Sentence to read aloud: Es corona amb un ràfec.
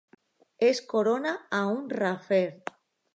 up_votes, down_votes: 0, 2